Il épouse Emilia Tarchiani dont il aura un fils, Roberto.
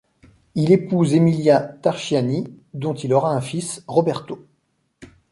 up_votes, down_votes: 1, 2